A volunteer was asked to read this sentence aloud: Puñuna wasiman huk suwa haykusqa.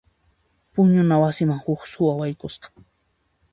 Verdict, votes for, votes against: rejected, 1, 2